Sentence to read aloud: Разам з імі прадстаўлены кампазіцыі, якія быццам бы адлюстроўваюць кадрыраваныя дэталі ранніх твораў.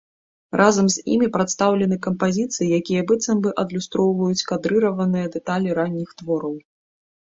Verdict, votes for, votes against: accepted, 3, 0